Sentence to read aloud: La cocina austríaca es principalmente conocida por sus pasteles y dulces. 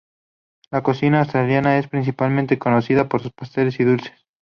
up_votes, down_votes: 2, 2